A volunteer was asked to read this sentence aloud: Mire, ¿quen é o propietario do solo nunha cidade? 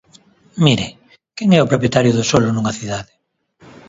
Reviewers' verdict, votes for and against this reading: accepted, 2, 0